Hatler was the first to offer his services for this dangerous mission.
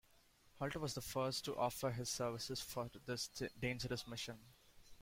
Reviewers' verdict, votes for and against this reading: accepted, 2, 1